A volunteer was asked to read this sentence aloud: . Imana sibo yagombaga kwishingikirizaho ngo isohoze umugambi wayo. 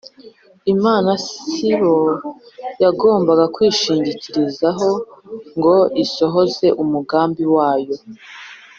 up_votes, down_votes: 2, 0